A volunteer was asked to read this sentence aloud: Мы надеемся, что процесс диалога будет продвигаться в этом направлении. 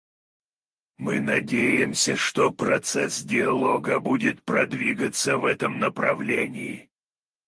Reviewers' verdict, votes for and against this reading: rejected, 2, 4